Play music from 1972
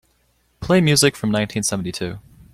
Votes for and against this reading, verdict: 0, 2, rejected